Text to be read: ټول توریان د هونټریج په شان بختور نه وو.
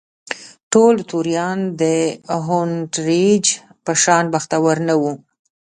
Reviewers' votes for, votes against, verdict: 2, 1, accepted